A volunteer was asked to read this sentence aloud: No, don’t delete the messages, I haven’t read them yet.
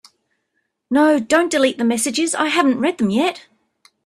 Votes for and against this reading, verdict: 3, 0, accepted